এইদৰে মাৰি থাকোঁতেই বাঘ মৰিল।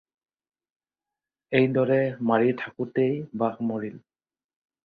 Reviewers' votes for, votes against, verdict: 4, 0, accepted